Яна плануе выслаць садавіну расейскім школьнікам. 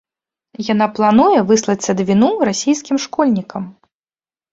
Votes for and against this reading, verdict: 1, 2, rejected